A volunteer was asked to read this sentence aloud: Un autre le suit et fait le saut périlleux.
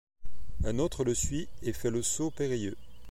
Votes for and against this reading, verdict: 2, 0, accepted